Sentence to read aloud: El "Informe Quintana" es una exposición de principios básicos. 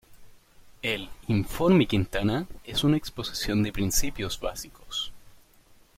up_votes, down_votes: 2, 0